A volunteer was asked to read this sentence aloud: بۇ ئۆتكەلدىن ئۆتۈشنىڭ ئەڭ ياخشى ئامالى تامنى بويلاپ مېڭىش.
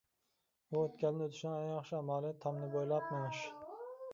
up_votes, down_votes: 0, 2